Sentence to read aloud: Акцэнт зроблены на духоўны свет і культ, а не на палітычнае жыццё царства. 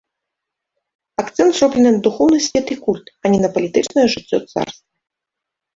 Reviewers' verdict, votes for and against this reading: rejected, 1, 2